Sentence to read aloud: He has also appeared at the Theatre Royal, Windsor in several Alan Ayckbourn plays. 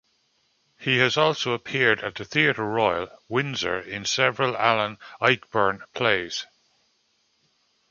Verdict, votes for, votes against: rejected, 0, 2